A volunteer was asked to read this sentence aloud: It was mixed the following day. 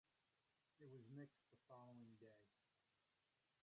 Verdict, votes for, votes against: rejected, 0, 3